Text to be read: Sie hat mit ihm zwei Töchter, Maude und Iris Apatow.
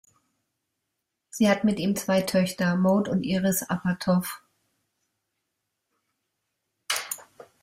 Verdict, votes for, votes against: rejected, 0, 2